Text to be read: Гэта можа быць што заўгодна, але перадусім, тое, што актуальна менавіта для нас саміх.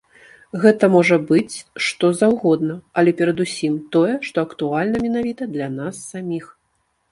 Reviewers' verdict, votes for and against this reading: accepted, 2, 0